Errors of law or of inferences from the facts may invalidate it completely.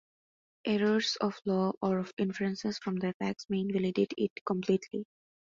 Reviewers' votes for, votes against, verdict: 4, 1, accepted